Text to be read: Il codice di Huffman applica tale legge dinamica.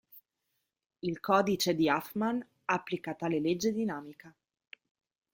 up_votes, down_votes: 2, 0